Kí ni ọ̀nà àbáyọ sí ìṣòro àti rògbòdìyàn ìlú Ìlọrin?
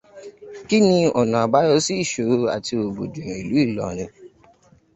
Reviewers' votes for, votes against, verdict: 2, 0, accepted